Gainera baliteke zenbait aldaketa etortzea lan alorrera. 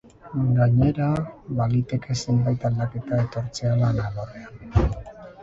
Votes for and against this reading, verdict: 0, 2, rejected